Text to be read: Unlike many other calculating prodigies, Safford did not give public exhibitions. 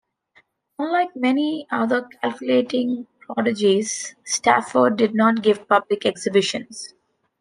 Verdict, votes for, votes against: rejected, 0, 2